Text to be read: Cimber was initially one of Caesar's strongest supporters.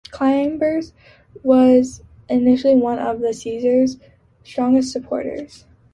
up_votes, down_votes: 0, 2